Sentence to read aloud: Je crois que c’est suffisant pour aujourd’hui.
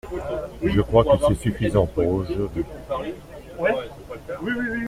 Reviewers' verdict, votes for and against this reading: rejected, 1, 2